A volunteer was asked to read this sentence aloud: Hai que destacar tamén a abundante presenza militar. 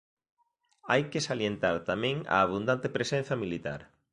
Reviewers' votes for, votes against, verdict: 0, 2, rejected